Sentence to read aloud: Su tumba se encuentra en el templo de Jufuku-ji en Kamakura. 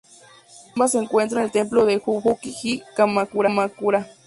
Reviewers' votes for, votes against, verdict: 0, 2, rejected